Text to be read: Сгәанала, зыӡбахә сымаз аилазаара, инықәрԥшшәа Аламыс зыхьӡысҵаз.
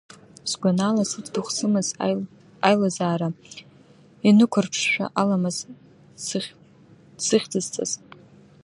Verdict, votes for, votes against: rejected, 1, 2